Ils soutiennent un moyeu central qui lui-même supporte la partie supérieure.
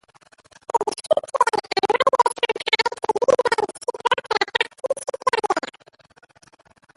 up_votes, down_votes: 0, 2